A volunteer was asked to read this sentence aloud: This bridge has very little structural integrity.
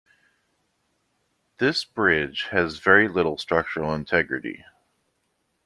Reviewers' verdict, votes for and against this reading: accepted, 2, 0